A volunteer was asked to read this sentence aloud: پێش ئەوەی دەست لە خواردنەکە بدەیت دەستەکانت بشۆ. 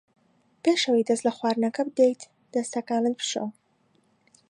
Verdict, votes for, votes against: accepted, 2, 0